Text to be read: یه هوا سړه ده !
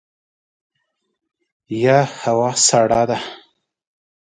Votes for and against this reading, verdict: 10, 1, accepted